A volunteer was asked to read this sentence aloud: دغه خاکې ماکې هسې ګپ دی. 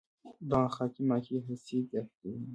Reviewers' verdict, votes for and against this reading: rejected, 1, 2